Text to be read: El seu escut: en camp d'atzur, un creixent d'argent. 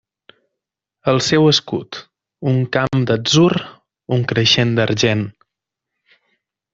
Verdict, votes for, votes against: rejected, 0, 2